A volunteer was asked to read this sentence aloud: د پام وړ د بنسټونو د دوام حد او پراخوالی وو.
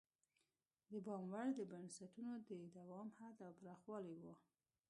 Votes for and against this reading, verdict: 2, 1, accepted